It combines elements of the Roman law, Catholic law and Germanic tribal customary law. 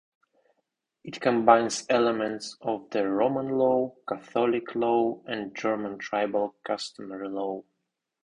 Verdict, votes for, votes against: accepted, 2, 0